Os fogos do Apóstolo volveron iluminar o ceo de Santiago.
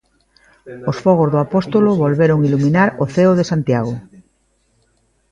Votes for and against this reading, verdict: 3, 0, accepted